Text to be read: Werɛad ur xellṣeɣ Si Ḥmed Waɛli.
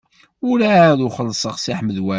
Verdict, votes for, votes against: rejected, 2, 3